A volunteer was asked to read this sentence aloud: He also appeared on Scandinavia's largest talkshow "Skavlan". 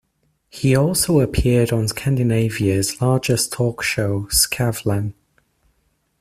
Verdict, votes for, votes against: accepted, 2, 0